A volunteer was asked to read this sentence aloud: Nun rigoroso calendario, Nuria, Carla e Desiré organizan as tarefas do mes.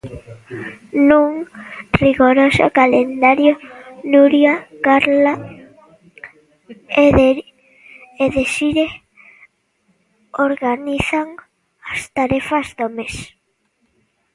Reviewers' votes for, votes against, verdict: 1, 2, rejected